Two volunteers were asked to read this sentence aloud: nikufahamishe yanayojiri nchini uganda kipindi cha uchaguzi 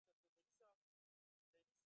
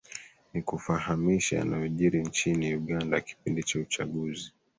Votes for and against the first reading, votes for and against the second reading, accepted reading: 0, 2, 2, 0, second